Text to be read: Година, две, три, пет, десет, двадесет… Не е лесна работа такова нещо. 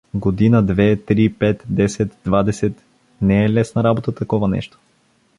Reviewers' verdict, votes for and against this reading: accepted, 2, 0